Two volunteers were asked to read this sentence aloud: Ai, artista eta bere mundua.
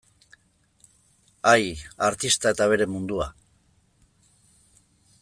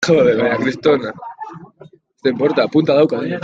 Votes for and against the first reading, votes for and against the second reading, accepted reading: 2, 1, 0, 2, first